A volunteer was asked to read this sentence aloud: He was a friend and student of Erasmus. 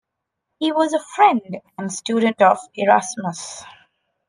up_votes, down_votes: 2, 0